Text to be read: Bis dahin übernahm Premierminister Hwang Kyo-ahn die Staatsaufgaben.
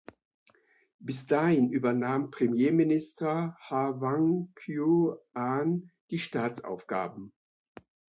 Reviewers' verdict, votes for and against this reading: rejected, 1, 2